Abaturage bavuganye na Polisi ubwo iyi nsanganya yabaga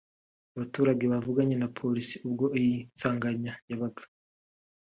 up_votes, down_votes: 3, 0